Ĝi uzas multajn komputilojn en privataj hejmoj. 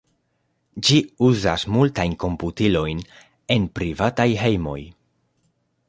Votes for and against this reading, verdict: 2, 0, accepted